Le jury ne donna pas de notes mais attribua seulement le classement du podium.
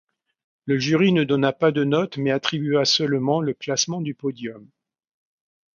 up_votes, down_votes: 2, 0